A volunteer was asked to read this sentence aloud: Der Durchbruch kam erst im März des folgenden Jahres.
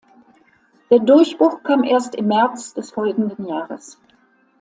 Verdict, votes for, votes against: accepted, 2, 0